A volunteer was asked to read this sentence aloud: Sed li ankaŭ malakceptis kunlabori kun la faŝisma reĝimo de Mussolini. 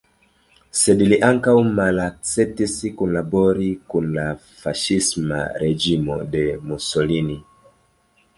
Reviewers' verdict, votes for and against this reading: rejected, 0, 2